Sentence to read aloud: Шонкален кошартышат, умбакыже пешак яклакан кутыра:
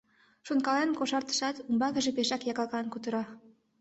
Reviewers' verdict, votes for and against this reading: accepted, 2, 0